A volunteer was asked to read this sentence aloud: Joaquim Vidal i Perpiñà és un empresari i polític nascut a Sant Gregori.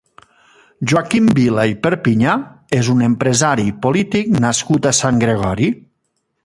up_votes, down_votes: 0, 3